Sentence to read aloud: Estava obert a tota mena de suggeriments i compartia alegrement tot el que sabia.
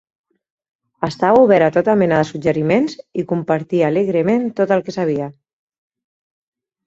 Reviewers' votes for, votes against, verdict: 6, 0, accepted